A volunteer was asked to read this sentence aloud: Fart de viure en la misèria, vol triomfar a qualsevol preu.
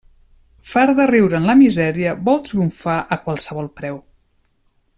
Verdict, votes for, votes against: rejected, 0, 2